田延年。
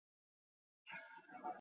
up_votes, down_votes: 0, 3